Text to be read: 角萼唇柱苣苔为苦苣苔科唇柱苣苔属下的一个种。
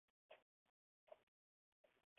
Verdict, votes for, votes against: rejected, 0, 2